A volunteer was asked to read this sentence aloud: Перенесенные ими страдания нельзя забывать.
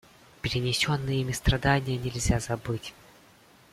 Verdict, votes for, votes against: rejected, 0, 2